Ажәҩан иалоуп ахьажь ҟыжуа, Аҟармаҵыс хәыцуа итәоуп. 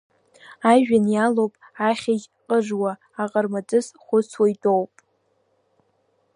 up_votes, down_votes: 2, 1